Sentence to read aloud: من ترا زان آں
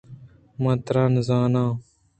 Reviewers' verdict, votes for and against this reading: accepted, 2, 1